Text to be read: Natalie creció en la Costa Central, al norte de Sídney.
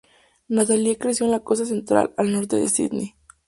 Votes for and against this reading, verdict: 2, 0, accepted